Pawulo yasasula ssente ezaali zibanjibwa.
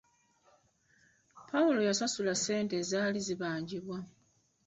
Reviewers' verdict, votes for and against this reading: rejected, 1, 2